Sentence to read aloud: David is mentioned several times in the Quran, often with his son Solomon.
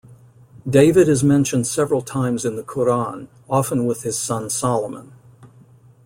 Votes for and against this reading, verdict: 2, 0, accepted